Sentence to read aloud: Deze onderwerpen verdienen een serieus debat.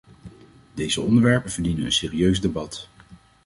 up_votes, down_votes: 2, 0